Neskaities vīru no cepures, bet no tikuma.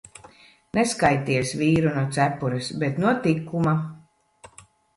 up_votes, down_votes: 2, 0